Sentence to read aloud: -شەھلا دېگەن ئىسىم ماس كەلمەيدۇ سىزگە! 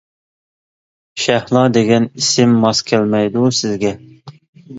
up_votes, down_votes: 2, 0